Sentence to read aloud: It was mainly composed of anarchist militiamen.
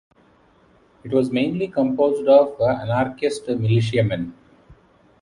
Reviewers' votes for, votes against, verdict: 0, 2, rejected